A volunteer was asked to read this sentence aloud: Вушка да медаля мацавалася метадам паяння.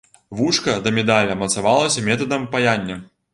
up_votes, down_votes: 1, 2